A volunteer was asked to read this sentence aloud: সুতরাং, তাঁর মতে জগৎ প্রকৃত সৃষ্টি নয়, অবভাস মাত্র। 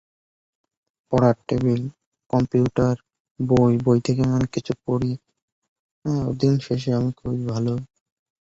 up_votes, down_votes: 0, 2